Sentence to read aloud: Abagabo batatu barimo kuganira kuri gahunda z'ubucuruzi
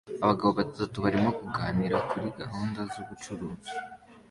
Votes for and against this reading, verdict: 2, 0, accepted